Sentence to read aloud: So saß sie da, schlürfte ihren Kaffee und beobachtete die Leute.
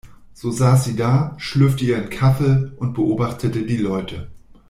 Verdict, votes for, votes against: rejected, 0, 2